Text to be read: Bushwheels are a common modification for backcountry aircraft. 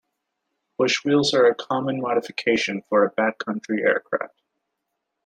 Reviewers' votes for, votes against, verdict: 2, 1, accepted